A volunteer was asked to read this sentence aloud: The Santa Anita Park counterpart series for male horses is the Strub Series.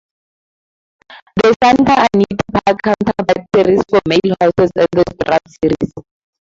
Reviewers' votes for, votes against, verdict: 2, 2, rejected